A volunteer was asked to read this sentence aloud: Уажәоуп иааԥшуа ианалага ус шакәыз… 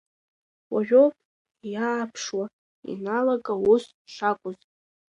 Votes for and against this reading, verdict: 0, 2, rejected